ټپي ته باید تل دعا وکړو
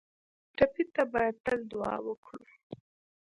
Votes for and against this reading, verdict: 3, 1, accepted